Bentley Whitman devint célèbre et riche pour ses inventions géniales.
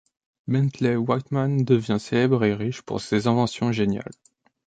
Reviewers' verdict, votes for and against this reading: rejected, 0, 2